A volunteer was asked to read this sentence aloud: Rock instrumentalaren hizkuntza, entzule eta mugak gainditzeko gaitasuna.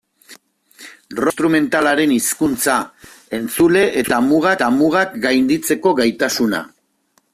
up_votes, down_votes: 1, 2